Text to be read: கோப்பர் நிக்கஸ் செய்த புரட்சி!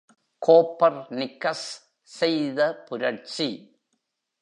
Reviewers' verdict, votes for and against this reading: accepted, 3, 0